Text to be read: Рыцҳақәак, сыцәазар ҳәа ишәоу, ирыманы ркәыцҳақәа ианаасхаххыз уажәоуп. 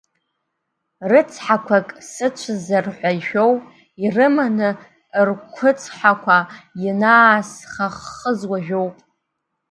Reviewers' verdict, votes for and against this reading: accepted, 2, 0